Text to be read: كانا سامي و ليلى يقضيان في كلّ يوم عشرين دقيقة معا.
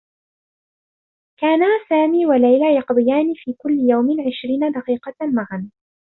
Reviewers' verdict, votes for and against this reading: accepted, 2, 1